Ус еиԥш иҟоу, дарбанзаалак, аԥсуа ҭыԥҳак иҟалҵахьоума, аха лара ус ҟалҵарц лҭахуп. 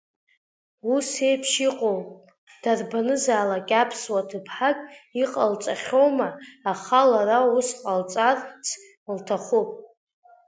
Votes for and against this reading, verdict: 2, 0, accepted